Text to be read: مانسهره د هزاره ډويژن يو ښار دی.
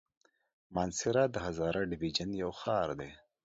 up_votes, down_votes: 2, 0